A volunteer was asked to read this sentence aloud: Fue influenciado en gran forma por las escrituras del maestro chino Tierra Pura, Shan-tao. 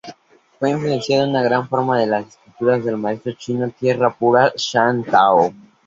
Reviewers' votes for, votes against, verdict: 0, 2, rejected